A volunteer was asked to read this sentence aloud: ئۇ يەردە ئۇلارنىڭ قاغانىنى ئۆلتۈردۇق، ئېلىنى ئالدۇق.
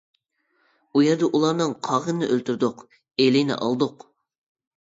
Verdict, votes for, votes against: accepted, 2, 1